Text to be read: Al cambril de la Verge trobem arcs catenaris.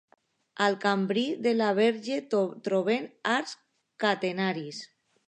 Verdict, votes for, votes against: rejected, 0, 2